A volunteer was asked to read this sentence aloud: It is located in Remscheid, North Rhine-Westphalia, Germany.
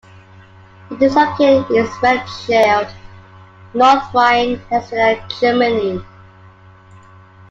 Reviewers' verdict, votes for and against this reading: rejected, 1, 2